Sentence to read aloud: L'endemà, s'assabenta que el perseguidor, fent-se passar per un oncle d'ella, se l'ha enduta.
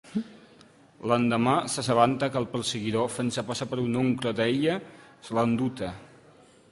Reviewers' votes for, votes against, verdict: 0, 2, rejected